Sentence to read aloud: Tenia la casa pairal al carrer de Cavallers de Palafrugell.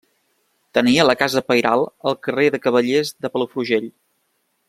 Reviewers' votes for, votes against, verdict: 2, 0, accepted